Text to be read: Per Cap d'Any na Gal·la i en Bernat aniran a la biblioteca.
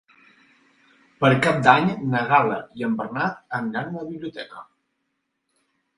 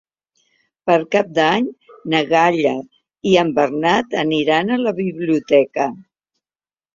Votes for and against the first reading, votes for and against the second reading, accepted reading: 4, 0, 2, 3, first